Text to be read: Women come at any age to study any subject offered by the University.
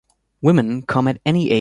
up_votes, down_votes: 0, 2